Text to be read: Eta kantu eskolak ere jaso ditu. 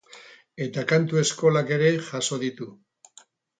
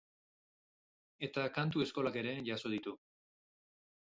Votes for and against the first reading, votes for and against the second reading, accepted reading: 0, 2, 6, 0, second